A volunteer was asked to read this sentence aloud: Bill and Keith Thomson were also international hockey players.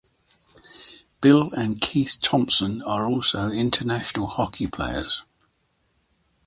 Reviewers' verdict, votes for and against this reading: accepted, 2, 1